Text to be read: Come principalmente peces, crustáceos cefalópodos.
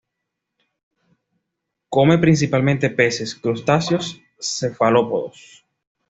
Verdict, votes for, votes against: accepted, 2, 0